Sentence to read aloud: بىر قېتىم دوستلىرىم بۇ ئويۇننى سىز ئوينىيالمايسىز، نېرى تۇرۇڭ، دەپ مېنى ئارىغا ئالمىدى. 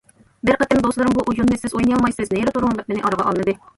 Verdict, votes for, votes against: accepted, 2, 1